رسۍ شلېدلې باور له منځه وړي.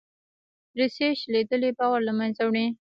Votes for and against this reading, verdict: 1, 2, rejected